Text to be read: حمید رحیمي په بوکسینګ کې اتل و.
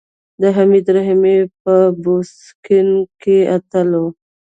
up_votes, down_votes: 0, 2